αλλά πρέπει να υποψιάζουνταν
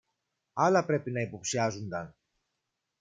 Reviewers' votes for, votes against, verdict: 1, 2, rejected